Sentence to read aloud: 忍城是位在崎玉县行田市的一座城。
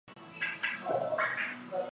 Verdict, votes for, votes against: rejected, 0, 2